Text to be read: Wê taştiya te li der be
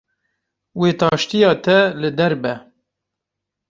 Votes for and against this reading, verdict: 2, 0, accepted